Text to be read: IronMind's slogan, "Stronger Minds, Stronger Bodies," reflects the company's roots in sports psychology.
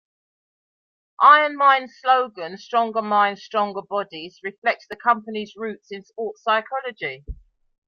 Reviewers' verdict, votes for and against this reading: accepted, 2, 0